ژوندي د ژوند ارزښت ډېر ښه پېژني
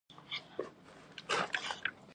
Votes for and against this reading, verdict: 1, 2, rejected